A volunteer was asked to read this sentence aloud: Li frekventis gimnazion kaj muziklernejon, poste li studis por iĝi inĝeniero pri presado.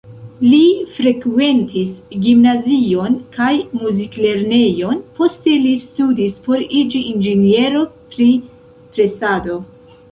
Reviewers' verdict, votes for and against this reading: accepted, 2, 1